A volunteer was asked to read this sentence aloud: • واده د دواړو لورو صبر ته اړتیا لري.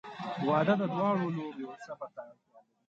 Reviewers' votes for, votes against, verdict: 0, 2, rejected